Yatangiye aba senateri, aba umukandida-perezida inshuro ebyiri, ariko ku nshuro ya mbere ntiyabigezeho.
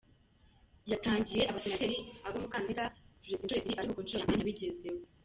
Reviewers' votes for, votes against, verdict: 0, 2, rejected